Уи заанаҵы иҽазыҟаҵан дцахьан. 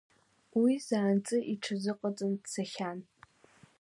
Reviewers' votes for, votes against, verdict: 1, 2, rejected